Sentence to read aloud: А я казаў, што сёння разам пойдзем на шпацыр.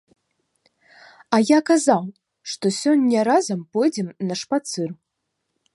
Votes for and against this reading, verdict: 2, 0, accepted